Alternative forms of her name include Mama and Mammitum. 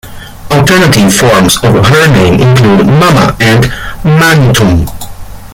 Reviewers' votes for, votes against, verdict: 2, 0, accepted